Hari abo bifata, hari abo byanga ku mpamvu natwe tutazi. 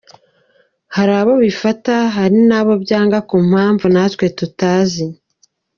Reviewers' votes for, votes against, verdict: 1, 2, rejected